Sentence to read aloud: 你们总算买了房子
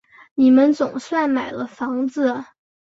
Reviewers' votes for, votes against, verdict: 6, 0, accepted